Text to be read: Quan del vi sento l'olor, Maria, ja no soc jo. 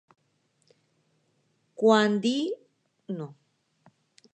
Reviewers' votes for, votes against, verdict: 1, 2, rejected